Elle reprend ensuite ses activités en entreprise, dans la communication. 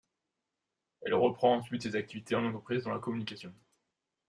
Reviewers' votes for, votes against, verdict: 2, 1, accepted